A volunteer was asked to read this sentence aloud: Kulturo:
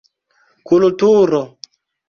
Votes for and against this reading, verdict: 2, 0, accepted